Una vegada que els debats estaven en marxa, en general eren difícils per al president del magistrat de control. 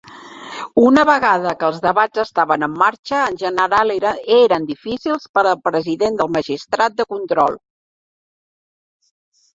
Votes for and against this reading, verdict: 0, 2, rejected